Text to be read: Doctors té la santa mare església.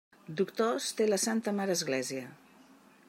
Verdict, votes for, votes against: accepted, 3, 0